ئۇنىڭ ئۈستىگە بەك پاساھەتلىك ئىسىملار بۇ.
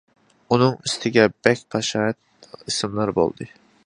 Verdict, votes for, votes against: rejected, 0, 2